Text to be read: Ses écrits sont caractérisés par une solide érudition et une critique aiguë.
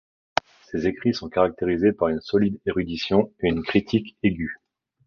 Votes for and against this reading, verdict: 2, 0, accepted